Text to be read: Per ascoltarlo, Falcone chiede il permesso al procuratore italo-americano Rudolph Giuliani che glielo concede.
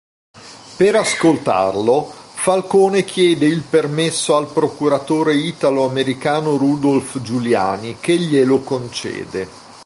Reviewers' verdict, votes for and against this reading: accepted, 2, 0